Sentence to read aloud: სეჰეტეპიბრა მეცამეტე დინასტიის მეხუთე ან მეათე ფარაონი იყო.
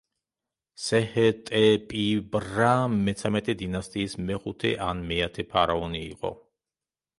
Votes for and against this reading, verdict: 1, 2, rejected